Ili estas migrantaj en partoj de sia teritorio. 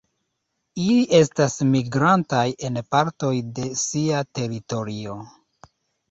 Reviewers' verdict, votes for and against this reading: accepted, 2, 0